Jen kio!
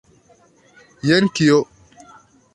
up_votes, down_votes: 2, 1